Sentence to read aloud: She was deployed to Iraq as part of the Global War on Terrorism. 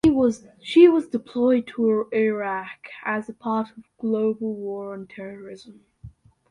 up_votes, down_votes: 0, 2